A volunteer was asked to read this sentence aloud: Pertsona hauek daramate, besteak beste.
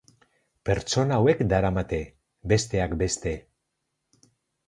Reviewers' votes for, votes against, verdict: 2, 0, accepted